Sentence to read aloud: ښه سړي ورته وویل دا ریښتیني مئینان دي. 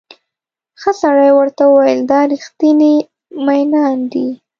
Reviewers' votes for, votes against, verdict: 1, 2, rejected